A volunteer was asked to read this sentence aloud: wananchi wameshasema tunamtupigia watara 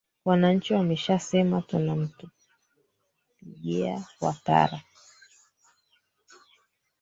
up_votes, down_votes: 2, 3